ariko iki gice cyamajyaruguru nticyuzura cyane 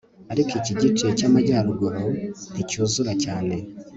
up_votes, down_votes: 3, 0